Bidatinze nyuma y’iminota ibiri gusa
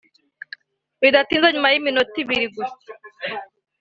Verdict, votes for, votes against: accepted, 2, 0